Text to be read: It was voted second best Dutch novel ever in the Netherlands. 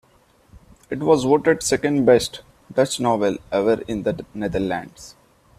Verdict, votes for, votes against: accepted, 2, 0